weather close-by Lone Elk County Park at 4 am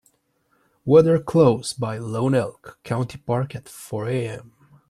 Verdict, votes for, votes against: rejected, 0, 2